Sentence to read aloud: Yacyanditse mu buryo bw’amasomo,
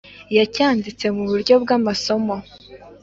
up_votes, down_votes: 2, 0